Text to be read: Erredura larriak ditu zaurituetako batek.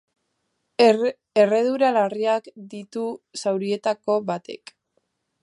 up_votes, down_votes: 0, 2